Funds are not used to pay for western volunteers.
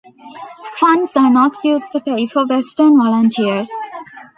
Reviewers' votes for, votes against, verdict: 0, 2, rejected